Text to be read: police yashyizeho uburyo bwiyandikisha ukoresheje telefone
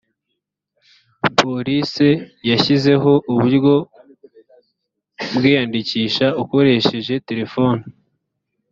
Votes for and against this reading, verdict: 2, 0, accepted